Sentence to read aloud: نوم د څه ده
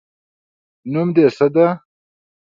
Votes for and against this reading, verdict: 2, 0, accepted